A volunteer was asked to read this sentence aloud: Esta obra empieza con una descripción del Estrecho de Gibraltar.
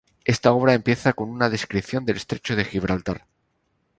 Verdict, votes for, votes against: accepted, 2, 0